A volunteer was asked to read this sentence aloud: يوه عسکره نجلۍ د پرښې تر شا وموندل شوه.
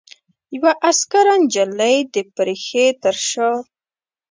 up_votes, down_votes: 1, 2